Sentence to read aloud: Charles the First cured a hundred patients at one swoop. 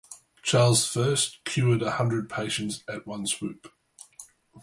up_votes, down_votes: 2, 2